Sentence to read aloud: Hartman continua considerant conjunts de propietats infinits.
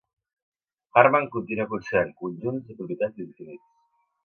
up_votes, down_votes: 1, 2